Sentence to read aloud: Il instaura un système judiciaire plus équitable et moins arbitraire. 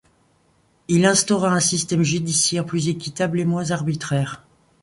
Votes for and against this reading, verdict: 2, 0, accepted